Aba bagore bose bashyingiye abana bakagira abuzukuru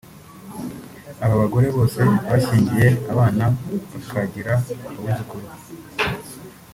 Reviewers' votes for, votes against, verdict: 0, 2, rejected